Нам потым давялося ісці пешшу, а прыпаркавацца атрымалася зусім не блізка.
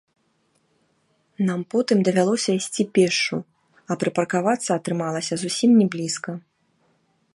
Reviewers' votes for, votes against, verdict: 0, 2, rejected